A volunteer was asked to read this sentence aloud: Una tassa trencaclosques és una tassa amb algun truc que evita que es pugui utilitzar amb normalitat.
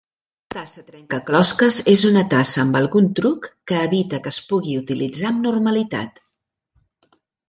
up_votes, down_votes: 0, 2